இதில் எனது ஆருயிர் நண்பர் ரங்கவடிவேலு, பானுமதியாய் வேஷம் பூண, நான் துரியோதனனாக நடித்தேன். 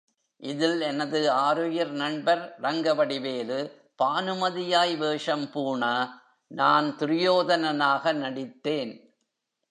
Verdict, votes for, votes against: accepted, 3, 0